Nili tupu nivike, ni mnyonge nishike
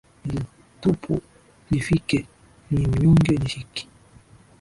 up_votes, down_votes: 0, 2